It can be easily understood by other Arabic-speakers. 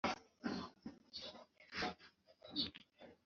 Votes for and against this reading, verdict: 0, 2, rejected